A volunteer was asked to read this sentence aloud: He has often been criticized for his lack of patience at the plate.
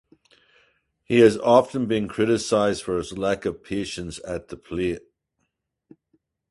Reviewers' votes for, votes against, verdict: 4, 0, accepted